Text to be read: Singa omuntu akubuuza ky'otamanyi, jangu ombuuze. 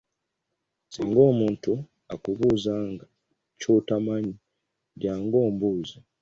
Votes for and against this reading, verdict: 2, 1, accepted